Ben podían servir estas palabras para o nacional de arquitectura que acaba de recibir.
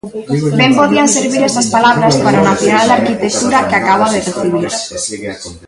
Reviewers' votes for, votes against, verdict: 0, 2, rejected